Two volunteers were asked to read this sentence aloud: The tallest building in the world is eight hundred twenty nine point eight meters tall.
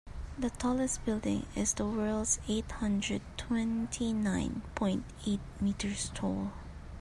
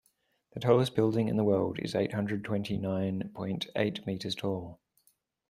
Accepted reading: second